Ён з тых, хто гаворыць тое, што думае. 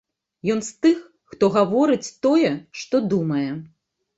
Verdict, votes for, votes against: accepted, 2, 0